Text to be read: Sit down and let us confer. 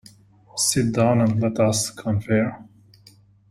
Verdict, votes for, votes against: accepted, 2, 0